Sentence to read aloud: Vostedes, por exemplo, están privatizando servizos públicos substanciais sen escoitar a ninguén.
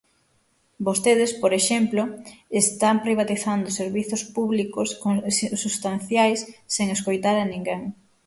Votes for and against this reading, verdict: 0, 6, rejected